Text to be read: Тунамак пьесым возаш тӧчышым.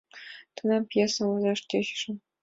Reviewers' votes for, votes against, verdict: 2, 1, accepted